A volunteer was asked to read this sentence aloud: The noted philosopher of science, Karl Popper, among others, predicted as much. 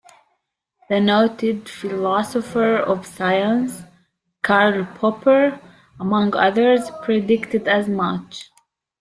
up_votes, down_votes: 2, 0